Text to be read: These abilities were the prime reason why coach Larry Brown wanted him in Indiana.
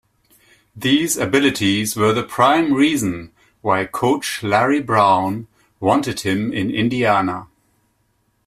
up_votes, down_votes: 2, 0